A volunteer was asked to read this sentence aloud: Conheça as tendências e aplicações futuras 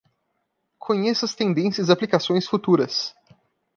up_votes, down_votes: 2, 3